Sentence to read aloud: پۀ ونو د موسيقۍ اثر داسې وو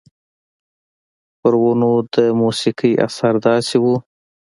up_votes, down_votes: 2, 0